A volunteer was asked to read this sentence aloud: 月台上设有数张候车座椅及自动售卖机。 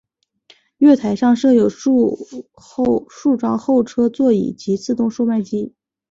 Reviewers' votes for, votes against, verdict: 4, 0, accepted